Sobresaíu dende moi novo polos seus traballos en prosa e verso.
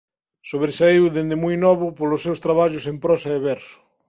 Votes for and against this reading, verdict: 2, 0, accepted